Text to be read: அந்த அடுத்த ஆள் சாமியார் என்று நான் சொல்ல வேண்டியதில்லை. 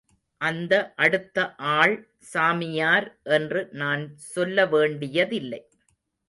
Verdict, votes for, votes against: accepted, 2, 0